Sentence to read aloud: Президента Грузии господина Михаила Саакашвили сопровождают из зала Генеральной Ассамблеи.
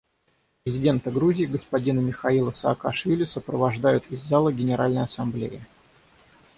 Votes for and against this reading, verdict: 3, 6, rejected